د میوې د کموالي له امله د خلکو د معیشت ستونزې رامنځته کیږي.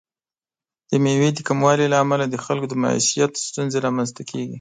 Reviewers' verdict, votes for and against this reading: accepted, 2, 0